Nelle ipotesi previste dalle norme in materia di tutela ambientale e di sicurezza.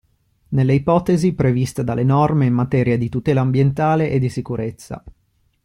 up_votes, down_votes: 2, 0